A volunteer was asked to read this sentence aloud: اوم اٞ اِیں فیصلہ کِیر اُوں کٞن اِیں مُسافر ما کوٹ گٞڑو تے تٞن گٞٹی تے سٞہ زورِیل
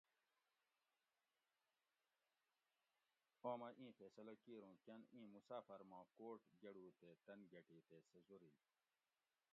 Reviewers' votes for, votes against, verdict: 1, 2, rejected